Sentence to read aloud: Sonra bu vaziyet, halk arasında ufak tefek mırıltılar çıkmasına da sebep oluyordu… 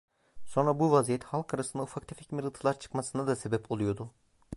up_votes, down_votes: 2, 0